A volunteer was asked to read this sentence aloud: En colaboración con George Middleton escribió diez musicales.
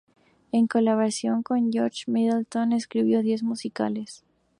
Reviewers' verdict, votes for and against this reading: accepted, 2, 0